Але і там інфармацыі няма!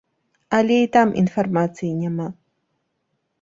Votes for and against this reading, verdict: 2, 0, accepted